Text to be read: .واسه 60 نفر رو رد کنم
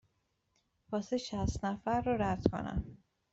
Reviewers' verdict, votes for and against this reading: rejected, 0, 2